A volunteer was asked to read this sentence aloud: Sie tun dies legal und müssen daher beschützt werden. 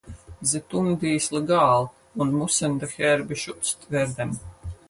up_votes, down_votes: 0, 4